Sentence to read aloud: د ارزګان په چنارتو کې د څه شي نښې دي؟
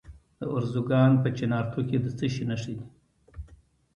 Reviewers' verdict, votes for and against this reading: accepted, 2, 0